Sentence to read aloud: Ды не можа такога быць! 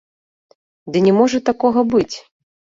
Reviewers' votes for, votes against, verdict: 2, 0, accepted